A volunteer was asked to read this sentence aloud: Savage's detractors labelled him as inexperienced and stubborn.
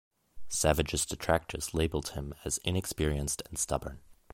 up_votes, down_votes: 2, 1